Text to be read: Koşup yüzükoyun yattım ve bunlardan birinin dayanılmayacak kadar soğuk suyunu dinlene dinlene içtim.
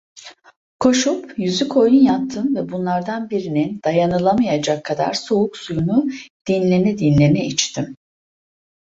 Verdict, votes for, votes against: rejected, 0, 2